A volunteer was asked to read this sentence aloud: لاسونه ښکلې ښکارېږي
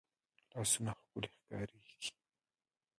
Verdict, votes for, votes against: rejected, 0, 2